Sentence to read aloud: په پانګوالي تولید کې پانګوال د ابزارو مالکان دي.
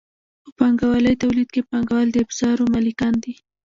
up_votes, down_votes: 1, 2